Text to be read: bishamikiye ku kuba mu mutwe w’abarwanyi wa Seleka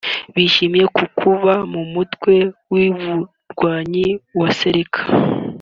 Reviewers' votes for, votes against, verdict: 1, 2, rejected